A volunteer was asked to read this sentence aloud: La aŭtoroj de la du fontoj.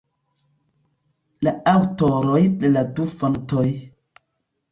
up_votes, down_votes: 2, 0